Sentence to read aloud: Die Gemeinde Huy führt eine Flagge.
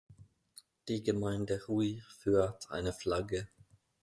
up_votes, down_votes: 2, 0